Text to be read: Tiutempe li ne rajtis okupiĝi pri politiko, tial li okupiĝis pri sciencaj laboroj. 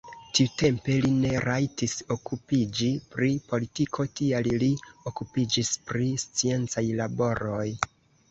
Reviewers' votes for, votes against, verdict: 0, 2, rejected